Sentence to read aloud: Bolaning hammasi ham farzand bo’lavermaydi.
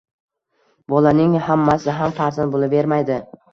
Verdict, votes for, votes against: accepted, 2, 0